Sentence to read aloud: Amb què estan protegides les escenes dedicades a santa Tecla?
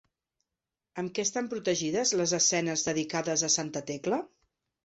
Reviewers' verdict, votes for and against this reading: accepted, 2, 0